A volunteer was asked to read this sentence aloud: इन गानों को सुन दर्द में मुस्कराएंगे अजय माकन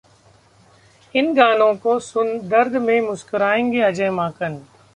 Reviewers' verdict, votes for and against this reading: rejected, 1, 2